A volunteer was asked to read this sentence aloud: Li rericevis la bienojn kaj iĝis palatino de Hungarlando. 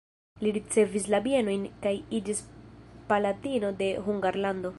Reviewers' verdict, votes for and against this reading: rejected, 0, 2